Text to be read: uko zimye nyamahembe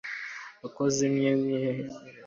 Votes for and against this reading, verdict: 0, 2, rejected